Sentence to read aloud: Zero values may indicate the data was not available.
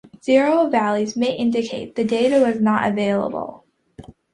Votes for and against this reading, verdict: 2, 0, accepted